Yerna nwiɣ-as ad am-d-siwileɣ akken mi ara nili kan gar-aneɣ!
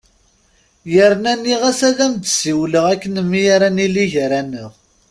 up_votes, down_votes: 1, 2